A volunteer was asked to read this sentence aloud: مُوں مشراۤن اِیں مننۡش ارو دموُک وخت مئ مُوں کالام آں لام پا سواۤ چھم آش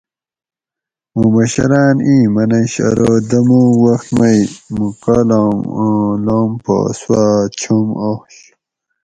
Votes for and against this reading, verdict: 2, 2, rejected